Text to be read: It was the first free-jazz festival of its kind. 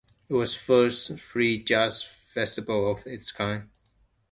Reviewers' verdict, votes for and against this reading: rejected, 1, 2